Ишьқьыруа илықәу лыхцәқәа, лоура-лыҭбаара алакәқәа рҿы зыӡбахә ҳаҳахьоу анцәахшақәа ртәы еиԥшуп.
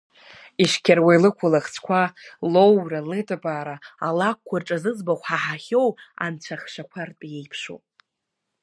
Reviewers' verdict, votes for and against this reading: rejected, 0, 2